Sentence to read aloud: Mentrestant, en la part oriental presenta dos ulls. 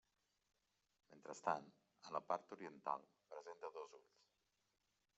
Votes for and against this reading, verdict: 0, 2, rejected